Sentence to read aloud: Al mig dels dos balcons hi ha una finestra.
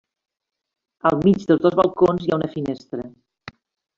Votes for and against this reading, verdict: 2, 0, accepted